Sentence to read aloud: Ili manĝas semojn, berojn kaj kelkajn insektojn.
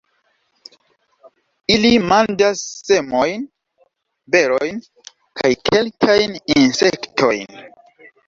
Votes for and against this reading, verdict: 2, 1, accepted